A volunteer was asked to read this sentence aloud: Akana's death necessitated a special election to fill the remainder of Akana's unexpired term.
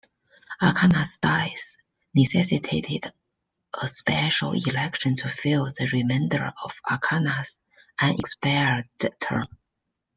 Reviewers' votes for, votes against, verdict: 0, 2, rejected